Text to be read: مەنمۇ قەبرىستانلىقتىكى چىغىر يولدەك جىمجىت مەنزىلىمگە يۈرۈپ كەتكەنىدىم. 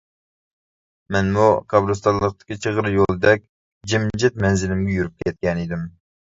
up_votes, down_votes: 2, 0